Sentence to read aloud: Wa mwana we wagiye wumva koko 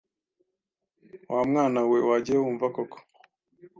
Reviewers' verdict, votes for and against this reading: accepted, 2, 0